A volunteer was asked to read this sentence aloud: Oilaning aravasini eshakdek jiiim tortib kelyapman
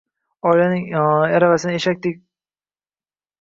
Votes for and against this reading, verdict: 0, 2, rejected